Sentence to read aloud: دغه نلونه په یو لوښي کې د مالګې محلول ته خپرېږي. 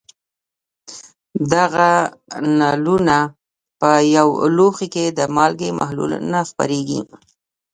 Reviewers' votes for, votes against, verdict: 2, 1, accepted